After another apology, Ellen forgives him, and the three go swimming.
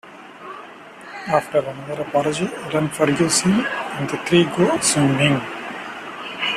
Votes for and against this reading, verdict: 1, 2, rejected